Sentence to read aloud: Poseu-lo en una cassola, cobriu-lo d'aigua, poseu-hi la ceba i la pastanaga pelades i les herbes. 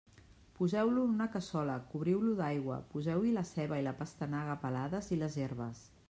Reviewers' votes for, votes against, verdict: 3, 0, accepted